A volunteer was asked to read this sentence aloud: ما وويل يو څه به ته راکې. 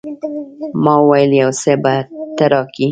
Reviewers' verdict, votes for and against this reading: accepted, 2, 0